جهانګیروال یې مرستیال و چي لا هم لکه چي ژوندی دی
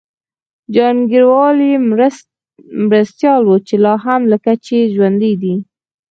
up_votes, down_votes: 4, 2